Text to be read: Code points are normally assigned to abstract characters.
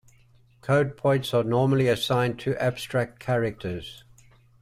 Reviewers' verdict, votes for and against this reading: accepted, 2, 0